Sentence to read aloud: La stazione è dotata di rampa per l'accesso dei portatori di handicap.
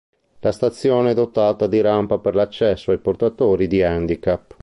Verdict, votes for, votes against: rejected, 0, 2